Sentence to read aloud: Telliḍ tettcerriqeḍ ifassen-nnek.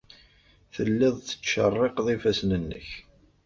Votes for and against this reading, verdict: 2, 0, accepted